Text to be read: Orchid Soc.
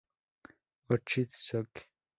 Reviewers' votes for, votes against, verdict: 2, 2, rejected